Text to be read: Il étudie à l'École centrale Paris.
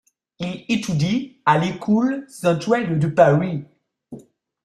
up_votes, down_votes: 0, 2